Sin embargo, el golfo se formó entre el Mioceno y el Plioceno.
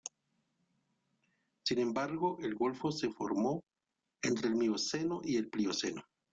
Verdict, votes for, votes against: accepted, 2, 0